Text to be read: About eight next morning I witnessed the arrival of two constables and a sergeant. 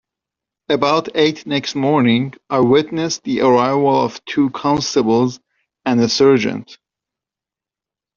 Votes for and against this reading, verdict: 0, 2, rejected